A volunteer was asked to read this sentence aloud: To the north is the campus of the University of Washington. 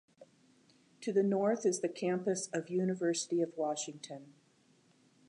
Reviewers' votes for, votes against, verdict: 1, 2, rejected